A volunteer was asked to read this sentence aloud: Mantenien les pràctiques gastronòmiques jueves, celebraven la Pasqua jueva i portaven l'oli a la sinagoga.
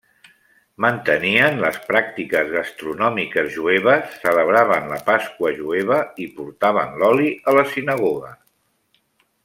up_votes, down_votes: 3, 0